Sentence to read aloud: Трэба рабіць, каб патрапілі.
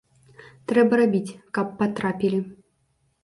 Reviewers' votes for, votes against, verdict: 2, 0, accepted